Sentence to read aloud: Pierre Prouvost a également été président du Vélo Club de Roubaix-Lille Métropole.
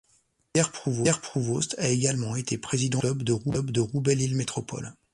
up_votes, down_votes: 0, 2